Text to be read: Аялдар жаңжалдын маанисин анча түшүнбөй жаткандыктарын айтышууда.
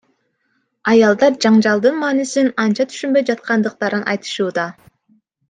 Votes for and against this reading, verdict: 2, 0, accepted